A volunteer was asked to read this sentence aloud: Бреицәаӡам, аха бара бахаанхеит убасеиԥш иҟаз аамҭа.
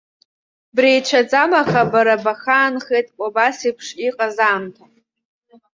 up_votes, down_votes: 2, 0